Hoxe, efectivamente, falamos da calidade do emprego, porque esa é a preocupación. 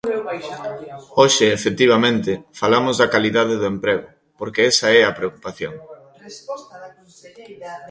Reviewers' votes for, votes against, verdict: 0, 2, rejected